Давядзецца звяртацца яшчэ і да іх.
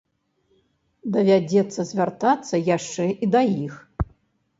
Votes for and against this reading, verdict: 2, 0, accepted